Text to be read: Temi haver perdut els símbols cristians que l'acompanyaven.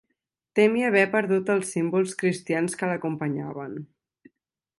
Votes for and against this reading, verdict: 2, 0, accepted